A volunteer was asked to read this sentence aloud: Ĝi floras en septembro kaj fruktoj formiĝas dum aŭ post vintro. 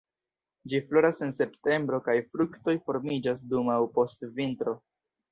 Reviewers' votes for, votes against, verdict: 2, 0, accepted